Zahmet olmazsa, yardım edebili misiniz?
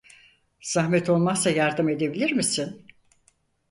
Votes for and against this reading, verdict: 0, 4, rejected